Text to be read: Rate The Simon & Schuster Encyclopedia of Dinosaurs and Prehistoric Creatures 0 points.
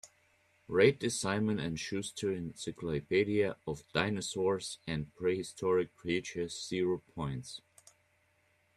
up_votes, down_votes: 0, 2